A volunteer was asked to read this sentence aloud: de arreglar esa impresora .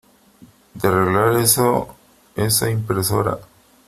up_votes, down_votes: 0, 2